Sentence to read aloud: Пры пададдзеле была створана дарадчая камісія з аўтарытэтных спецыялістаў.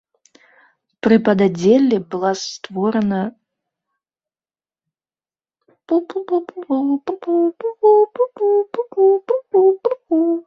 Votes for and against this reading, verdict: 0, 2, rejected